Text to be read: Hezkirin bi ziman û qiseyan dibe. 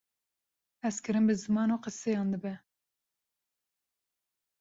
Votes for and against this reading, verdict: 2, 0, accepted